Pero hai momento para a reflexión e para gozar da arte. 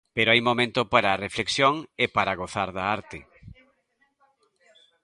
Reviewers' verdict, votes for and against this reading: accepted, 2, 0